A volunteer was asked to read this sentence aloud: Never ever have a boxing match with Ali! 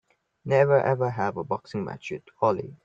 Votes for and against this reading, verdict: 3, 2, accepted